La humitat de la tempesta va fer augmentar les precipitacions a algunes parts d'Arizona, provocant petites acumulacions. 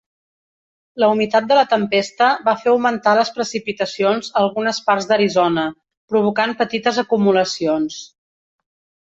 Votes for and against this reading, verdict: 3, 0, accepted